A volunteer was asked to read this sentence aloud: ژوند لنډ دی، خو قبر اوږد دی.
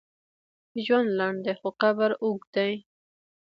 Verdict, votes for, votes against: accepted, 2, 1